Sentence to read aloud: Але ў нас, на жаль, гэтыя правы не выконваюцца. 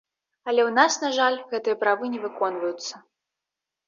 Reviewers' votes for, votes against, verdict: 2, 0, accepted